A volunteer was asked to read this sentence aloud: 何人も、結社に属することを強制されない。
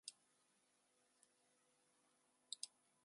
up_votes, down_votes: 1, 2